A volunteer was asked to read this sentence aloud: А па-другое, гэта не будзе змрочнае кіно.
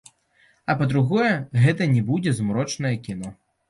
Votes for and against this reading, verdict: 2, 0, accepted